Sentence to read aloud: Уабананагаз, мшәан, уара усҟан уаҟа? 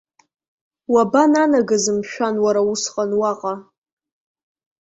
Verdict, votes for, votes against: accepted, 2, 0